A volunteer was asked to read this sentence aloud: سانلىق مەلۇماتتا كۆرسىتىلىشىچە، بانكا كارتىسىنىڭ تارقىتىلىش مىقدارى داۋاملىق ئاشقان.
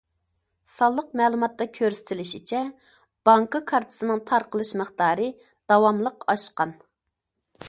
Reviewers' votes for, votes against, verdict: 0, 2, rejected